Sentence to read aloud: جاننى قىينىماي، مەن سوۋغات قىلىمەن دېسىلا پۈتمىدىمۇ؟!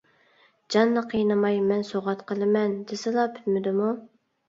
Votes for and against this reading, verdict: 2, 0, accepted